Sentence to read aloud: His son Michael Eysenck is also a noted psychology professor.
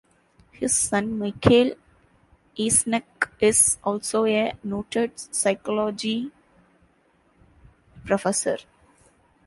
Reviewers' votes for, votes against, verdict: 2, 0, accepted